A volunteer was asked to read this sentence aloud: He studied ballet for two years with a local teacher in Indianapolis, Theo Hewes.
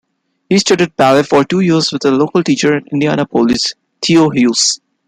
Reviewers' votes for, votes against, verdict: 2, 0, accepted